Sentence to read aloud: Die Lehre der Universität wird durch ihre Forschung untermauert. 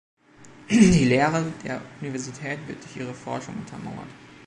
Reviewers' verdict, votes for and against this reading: accepted, 2, 0